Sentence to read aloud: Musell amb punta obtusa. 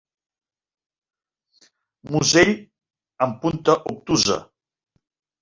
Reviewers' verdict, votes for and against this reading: rejected, 0, 2